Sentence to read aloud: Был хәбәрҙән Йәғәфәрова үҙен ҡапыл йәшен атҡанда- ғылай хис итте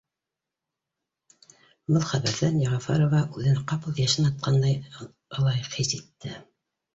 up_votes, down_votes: 0, 2